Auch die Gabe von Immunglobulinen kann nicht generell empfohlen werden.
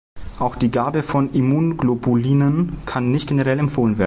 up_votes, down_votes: 0, 2